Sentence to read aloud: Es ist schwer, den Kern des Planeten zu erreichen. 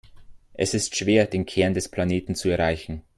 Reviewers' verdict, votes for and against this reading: accepted, 2, 0